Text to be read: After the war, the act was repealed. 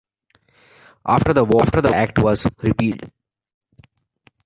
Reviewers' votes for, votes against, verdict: 1, 2, rejected